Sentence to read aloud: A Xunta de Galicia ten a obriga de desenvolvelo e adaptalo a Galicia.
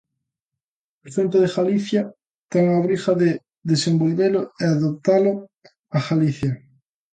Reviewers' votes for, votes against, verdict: 0, 2, rejected